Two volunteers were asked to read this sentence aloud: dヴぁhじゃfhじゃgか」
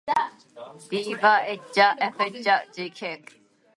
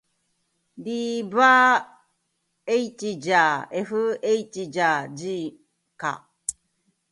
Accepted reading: second